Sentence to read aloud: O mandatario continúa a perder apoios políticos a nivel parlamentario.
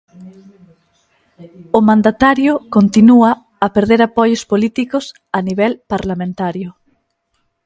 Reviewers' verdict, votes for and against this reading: accepted, 2, 0